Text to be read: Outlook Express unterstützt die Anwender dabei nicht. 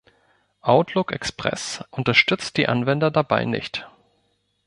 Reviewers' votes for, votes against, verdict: 2, 0, accepted